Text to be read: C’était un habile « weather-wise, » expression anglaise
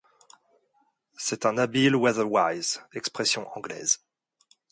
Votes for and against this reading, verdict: 1, 2, rejected